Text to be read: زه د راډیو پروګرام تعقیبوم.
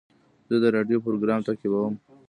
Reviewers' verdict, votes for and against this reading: rejected, 1, 2